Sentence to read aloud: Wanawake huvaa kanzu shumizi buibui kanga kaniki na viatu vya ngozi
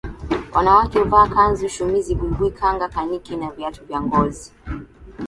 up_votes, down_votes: 13, 4